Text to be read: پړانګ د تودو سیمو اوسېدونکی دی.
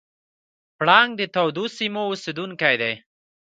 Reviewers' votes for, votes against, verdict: 1, 2, rejected